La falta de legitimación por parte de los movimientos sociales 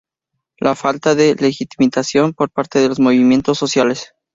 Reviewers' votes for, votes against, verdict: 0, 2, rejected